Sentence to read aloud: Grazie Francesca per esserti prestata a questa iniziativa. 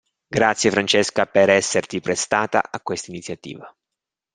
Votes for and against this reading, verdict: 2, 0, accepted